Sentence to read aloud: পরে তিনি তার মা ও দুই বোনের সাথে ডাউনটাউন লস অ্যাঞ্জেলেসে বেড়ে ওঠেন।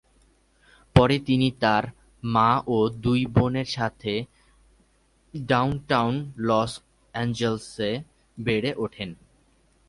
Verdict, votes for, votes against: rejected, 2, 2